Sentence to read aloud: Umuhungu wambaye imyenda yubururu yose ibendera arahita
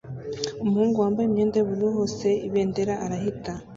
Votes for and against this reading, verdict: 1, 2, rejected